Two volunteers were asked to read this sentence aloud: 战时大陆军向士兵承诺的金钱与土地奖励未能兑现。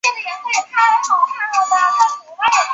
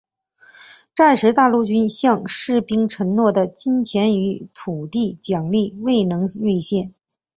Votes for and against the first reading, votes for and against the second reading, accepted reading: 0, 3, 3, 0, second